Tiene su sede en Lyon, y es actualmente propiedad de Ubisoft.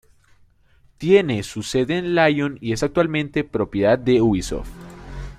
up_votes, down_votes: 2, 0